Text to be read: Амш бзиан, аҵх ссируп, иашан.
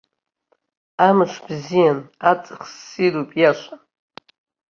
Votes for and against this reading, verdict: 2, 0, accepted